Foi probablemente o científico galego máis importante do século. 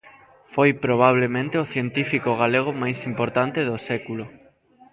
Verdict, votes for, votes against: rejected, 0, 2